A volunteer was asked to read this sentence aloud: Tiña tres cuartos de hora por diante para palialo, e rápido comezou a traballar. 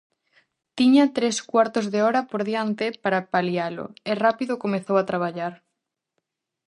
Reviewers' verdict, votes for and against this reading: accepted, 4, 0